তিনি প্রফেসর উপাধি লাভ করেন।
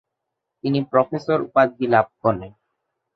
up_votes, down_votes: 2, 3